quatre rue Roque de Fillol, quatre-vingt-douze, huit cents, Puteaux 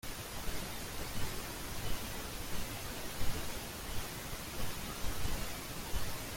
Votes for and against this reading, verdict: 0, 2, rejected